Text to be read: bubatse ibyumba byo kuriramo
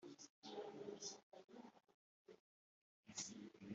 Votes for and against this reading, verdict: 1, 2, rejected